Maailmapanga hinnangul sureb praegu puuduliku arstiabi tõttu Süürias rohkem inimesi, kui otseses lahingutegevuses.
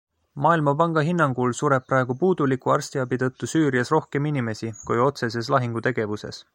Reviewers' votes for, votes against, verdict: 2, 0, accepted